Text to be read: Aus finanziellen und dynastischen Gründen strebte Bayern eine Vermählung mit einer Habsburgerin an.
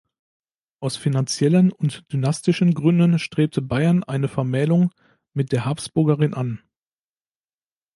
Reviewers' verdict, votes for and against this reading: rejected, 0, 2